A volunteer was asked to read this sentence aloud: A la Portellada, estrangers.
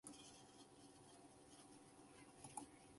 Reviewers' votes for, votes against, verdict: 0, 2, rejected